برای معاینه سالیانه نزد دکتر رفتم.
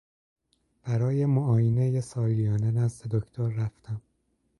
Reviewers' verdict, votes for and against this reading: accepted, 2, 0